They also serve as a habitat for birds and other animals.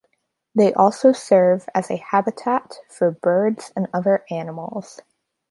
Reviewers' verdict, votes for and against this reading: accepted, 2, 0